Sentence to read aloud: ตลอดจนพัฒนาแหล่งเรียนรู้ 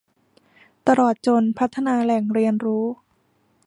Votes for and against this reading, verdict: 2, 0, accepted